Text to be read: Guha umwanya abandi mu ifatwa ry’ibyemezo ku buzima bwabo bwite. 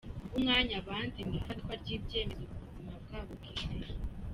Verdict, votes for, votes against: rejected, 1, 2